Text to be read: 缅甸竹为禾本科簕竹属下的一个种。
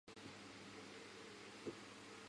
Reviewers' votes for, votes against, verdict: 0, 4, rejected